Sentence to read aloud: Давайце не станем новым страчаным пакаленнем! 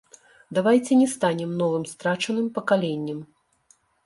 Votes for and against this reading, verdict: 2, 0, accepted